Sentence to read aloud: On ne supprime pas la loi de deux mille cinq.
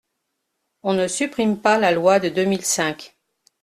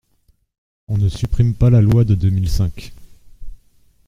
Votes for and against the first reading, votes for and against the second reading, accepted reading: 2, 0, 1, 2, first